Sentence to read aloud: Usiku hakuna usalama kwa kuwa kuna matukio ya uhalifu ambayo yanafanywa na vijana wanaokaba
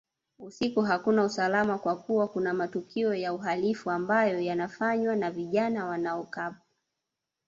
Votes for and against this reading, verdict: 2, 1, accepted